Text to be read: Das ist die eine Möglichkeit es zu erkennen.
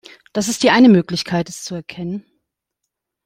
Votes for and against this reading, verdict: 2, 0, accepted